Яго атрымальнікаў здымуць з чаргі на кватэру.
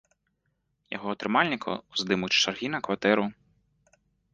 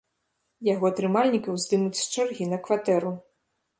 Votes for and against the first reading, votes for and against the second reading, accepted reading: 2, 0, 0, 2, first